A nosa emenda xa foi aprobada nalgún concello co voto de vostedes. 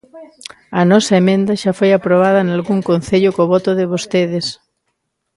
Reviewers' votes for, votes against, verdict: 2, 0, accepted